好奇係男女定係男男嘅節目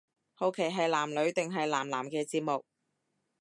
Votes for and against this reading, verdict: 2, 0, accepted